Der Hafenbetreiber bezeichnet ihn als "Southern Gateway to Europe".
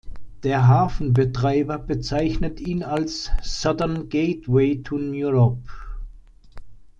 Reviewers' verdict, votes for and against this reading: accepted, 2, 1